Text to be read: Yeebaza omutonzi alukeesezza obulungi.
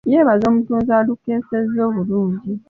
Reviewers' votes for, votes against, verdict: 2, 0, accepted